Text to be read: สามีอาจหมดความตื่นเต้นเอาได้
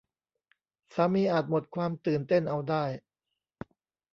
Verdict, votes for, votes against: accepted, 2, 0